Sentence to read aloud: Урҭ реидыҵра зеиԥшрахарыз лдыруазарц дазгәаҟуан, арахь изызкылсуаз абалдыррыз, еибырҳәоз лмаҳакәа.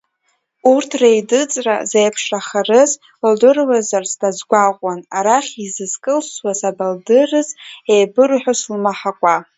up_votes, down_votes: 1, 2